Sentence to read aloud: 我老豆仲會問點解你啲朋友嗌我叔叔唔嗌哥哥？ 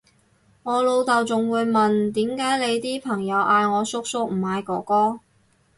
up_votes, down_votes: 4, 0